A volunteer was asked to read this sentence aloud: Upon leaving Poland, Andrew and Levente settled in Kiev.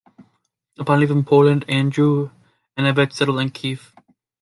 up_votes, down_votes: 0, 2